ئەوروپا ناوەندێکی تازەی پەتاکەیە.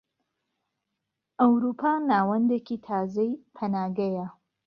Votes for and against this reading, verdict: 1, 2, rejected